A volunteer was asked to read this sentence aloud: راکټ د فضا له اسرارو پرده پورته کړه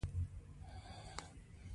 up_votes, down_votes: 1, 2